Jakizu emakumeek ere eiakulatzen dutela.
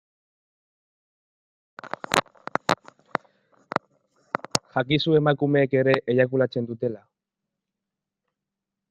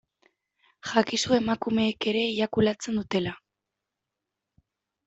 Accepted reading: second